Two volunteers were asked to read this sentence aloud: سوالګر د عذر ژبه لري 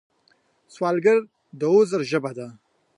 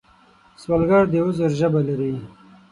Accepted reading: second